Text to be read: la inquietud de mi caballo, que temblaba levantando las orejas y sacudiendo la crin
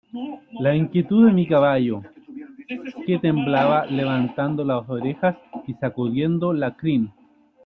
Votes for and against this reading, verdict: 0, 2, rejected